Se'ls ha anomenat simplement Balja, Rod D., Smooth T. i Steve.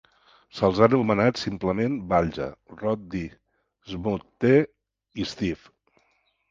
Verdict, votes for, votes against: accepted, 2, 0